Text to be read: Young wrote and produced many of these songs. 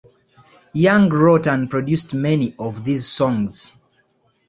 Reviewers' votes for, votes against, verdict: 2, 0, accepted